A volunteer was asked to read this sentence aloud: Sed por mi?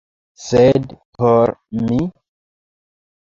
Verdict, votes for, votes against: accepted, 2, 1